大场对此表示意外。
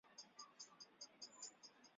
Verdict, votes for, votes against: rejected, 0, 3